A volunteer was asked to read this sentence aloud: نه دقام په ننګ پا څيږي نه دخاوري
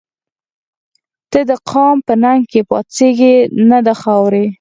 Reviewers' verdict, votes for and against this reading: accepted, 4, 0